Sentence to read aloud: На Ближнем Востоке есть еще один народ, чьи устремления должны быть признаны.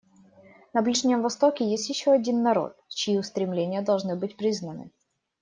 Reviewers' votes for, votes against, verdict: 2, 0, accepted